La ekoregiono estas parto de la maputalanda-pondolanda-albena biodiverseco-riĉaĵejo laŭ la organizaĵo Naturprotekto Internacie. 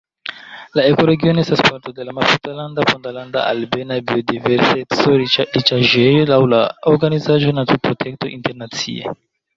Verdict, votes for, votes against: rejected, 0, 2